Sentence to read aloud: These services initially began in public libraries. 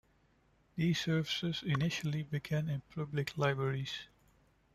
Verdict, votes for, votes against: rejected, 1, 2